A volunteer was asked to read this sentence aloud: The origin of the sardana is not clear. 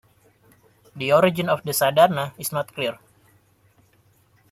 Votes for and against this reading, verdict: 2, 0, accepted